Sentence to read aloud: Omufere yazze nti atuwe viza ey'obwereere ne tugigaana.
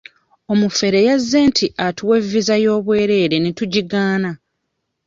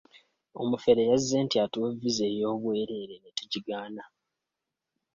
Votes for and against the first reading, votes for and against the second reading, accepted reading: 1, 2, 2, 0, second